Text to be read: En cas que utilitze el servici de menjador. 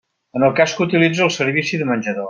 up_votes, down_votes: 0, 2